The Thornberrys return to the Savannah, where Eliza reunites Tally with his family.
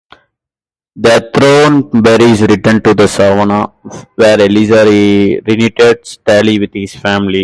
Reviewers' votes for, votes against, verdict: 2, 0, accepted